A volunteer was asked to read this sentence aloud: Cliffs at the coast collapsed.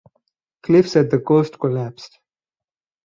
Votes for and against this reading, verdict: 0, 2, rejected